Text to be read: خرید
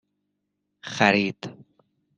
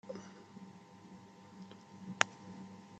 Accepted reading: first